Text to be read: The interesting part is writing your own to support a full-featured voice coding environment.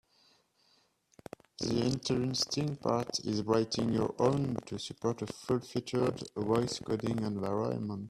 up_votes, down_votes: 0, 2